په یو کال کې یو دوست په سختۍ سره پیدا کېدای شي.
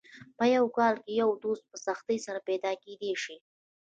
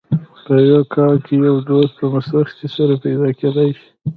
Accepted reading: first